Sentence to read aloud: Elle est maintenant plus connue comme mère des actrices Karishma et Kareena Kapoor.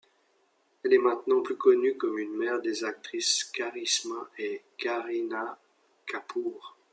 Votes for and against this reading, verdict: 1, 2, rejected